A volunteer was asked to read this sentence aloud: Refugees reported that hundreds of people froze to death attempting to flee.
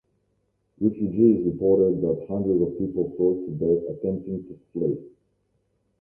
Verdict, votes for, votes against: rejected, 1, 2